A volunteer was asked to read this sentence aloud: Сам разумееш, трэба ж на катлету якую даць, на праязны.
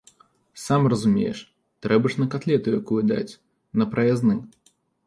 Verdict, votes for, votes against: accepted, 2, 0